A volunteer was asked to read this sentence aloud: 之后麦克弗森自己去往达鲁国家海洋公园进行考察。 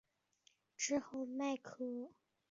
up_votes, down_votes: 1, 2